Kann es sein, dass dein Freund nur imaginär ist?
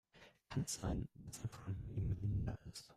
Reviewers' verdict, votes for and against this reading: rejected, 0, 2